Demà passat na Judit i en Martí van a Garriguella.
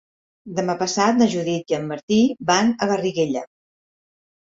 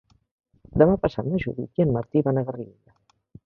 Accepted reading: first